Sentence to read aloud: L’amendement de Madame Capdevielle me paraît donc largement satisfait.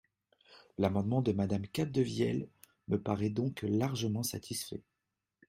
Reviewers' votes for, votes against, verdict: 2, 0, accepted